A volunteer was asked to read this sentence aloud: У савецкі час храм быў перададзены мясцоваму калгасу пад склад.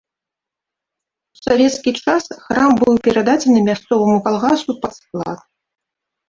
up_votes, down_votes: 1, 2